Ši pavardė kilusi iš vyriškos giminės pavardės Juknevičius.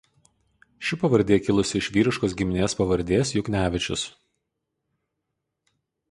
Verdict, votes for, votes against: accepted, 4, 0